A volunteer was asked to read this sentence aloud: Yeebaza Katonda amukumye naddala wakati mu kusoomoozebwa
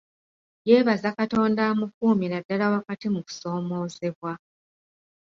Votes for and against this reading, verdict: 2, 0, accepted